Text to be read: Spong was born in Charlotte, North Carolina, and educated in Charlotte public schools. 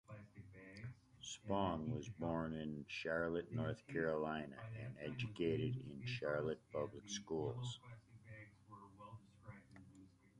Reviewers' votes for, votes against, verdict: 1, 2, rejected